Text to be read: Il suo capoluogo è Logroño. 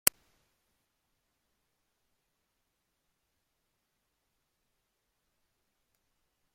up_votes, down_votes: 0, 2